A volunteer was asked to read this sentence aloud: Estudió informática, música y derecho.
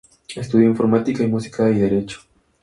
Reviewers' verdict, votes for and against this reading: accepted, 4, 0